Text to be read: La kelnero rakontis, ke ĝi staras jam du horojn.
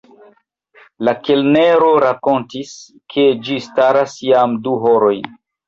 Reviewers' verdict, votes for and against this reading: rejected, 1, 2